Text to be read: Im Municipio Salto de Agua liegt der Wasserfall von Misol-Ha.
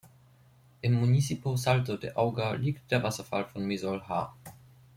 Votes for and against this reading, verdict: 0, 2, rejected